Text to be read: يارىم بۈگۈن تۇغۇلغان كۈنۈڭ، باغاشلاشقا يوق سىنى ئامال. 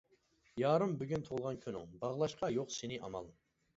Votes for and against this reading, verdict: 1, 2, rejected